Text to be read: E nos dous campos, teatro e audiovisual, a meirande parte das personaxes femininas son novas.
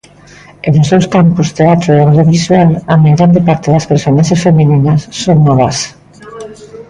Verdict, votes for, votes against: rejected, 1, 2